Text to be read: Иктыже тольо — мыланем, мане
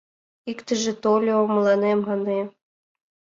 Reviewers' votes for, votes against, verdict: 2, 3, rejected